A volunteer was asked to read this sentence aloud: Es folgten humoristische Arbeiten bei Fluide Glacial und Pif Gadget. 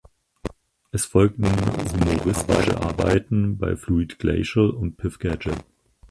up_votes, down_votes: 0, 4